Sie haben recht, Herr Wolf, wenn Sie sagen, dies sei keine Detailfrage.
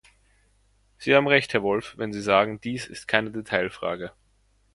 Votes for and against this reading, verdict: 0, 2, rejected